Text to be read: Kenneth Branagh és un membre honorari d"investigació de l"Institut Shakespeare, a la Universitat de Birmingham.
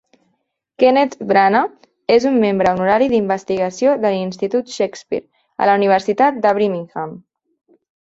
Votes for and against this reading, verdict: 0, 2, rejected